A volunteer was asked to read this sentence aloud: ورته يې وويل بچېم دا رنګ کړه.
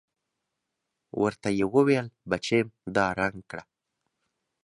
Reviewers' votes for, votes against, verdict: 2, 0, accepted